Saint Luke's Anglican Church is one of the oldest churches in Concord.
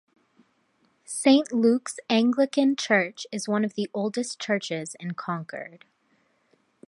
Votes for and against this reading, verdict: 2, 0, accepted